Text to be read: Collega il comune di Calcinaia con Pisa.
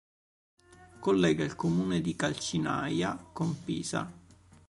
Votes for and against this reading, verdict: 3, 0, accepted